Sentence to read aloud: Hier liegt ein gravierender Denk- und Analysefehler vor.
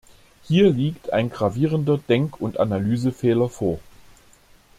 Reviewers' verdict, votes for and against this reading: accepted, 2, 0